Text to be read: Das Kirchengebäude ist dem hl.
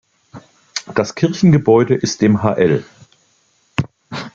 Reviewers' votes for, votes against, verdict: 1, 2, rejected